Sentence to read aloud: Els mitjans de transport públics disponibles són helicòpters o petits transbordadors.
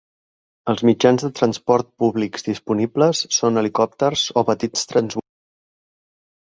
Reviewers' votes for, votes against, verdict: 1, 2, rejected